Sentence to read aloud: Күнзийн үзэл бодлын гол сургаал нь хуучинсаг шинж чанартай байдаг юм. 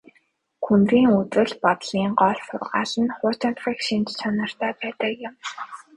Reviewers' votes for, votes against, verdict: 2, 1, accepted